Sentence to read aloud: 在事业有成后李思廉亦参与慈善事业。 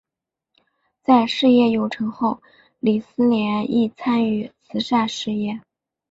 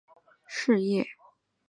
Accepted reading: first